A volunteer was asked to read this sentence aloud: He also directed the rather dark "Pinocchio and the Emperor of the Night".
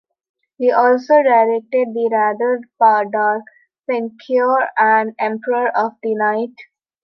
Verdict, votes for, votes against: rejected, 0, 2